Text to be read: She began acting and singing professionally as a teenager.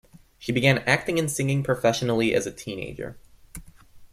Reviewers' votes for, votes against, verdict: 2, 1, accepted